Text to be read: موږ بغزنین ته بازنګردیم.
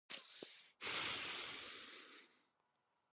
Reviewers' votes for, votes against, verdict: 0, 4, rejected